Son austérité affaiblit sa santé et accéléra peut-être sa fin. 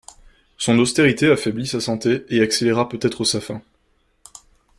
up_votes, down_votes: 2, 0